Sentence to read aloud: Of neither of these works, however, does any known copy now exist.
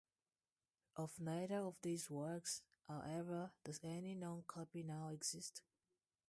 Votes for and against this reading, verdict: 0, 2, rejected